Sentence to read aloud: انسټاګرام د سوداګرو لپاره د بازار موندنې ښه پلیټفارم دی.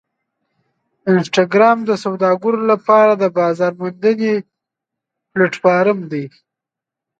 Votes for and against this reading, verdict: 4, 5, rejected